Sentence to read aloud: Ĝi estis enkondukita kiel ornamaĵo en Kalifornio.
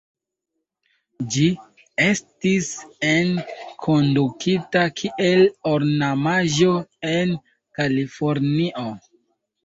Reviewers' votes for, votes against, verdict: 2, 1, accepted